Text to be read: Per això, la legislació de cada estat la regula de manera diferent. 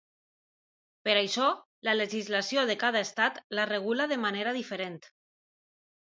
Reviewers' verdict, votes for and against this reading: accepted, 2, 0